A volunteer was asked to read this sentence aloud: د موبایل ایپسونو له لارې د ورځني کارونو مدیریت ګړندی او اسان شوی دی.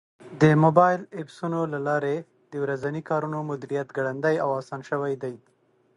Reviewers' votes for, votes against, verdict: 2, 0, accepted